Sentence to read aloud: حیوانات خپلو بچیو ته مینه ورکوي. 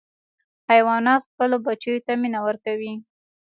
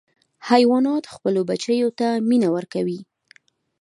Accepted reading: second